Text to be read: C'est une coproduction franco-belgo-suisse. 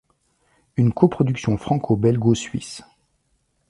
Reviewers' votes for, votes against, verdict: 1, 2, rejected